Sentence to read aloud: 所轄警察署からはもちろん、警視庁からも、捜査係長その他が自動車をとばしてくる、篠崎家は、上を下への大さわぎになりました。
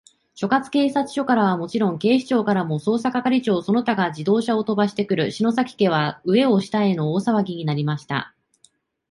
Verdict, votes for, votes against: accepted, 2, 0